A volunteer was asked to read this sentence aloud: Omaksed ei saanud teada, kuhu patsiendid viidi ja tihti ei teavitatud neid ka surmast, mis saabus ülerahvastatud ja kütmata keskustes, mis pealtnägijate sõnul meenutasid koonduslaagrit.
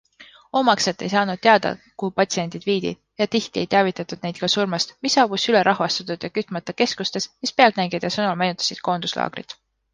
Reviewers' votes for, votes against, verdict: 2, 0, accepted